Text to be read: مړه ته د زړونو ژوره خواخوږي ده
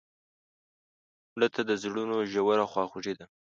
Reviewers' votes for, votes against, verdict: 2, 1, accepted